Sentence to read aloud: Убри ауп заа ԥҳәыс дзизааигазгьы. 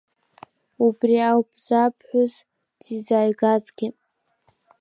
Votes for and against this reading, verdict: 3, 4, rejected